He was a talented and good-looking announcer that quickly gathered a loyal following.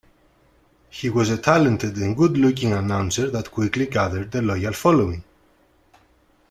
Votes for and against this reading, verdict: 2, 0, accepted